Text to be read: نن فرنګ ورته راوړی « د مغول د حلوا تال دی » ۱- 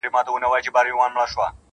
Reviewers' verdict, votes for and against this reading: rejected, 0, 2